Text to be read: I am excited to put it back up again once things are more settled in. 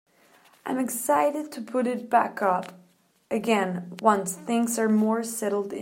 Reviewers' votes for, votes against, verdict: 1, 2, rejected